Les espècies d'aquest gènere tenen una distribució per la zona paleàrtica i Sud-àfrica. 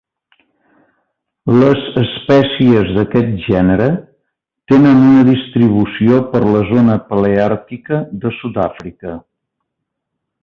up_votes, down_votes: 1, 2